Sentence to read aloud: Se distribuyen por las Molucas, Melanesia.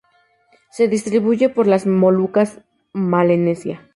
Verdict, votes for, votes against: rejected, 0, 2